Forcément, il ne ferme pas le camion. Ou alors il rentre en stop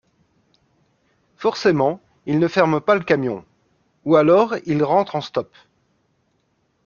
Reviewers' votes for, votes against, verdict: 2, 0, accepted